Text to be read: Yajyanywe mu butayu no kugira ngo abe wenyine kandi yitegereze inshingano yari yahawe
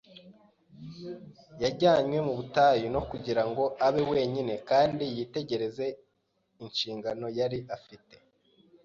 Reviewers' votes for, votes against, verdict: 1, 2, rejected